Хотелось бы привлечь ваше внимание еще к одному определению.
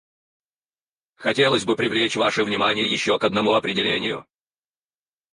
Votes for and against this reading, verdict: 0, 4, rejected